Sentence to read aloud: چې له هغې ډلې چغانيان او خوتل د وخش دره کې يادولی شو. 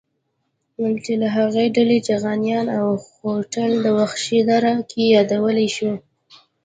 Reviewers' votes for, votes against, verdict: 1, 2, rejected